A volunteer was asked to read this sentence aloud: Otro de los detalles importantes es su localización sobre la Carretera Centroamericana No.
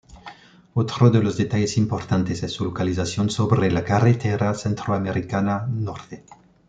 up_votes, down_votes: 0, 2